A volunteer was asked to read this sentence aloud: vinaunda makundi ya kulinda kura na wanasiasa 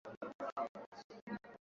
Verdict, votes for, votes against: rejected, 0, 2